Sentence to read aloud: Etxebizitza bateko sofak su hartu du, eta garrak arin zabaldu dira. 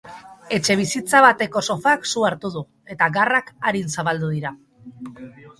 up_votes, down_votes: 3, 0